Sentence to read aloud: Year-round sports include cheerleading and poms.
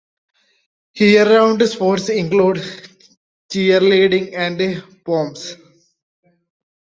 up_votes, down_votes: 2, 1